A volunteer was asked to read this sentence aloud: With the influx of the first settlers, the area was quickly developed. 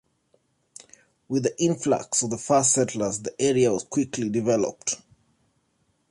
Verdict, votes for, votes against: accepted, 2, 0